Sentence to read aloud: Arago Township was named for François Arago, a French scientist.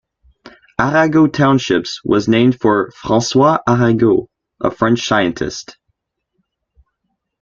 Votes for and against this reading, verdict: 2, 1, accepted